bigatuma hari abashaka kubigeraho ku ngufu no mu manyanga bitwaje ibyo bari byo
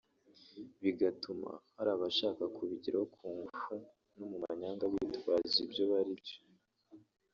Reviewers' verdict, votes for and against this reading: accepted, 4, 1